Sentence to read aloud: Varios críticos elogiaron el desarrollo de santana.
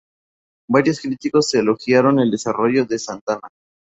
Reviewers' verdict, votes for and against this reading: accepted, 4, 0